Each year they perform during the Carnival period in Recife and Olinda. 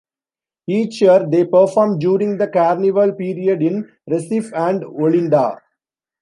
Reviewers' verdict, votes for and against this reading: accepted, 2, 0